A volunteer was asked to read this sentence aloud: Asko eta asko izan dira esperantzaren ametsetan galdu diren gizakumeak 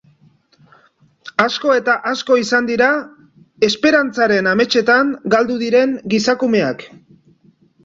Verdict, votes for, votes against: accepted, 2, 0